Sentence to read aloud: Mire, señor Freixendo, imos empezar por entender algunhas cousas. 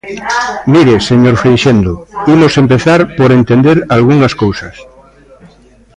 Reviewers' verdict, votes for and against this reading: rejected, 1, 2